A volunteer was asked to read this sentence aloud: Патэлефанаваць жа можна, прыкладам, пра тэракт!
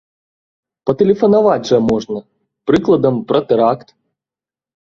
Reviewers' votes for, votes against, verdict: 2, 0, accepted